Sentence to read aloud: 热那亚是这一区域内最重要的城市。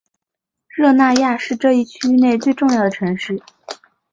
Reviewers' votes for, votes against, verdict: 2, 0, accepted